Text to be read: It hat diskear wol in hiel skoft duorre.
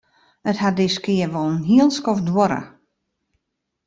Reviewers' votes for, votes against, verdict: 2, 0, accepted